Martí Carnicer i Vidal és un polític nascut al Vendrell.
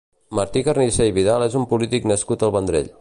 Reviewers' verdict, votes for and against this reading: accepted, 2, 0